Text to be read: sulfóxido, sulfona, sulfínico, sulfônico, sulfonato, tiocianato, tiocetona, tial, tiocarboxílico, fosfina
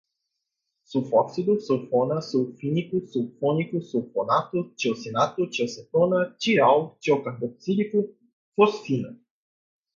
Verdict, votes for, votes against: accepted, 2, 0